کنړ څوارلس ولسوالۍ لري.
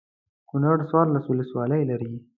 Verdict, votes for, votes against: accepted, 2, 0